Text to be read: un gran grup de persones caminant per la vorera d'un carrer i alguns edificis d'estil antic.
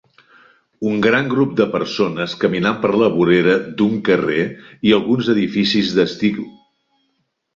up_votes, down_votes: 0, 2